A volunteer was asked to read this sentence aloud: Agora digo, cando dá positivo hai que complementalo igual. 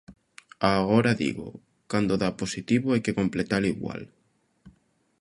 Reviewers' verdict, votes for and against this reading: rejected, 0, 2